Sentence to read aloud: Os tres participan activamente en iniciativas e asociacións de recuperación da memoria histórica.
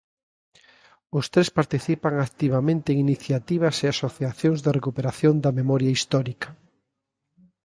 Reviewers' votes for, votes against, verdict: 2, 0, accepted